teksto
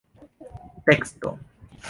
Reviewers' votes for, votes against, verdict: 3, 0, accepted